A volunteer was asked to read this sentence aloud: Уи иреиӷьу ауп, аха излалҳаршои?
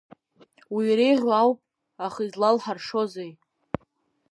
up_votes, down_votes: 2, 3